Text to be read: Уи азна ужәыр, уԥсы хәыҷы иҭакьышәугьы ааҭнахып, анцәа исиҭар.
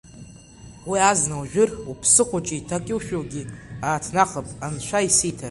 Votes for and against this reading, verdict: 2, 1, accepted